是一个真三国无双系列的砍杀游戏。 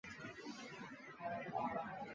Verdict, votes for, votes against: rejected, 0, 2